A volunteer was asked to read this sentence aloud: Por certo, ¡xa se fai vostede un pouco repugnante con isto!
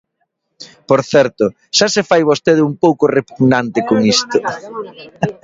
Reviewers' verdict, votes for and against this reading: rejected, 1, 2